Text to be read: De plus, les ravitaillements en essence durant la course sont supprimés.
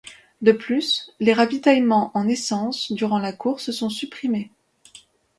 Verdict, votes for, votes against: accepted, 2, 0